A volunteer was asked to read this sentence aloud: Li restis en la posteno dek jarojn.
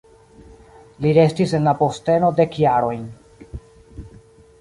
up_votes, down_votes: 2, 0